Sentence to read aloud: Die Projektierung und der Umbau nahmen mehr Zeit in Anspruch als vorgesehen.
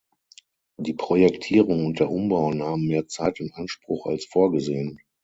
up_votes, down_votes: 6, 0